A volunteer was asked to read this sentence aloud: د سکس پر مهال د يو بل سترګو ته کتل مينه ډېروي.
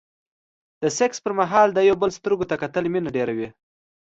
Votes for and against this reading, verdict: 2, 0, accepted